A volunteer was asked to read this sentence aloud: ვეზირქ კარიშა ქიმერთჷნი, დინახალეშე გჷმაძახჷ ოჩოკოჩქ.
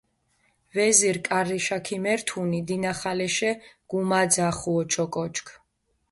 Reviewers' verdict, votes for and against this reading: rejected, 0, 2